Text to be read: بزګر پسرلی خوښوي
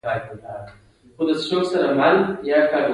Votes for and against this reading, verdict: 2, 1, accepted